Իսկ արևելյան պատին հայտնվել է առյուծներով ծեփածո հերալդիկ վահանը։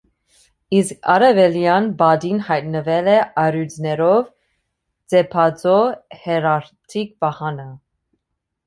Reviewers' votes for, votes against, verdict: 0, 2, rejected